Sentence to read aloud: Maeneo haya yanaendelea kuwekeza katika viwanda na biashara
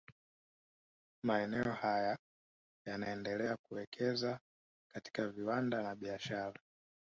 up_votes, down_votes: 2, 0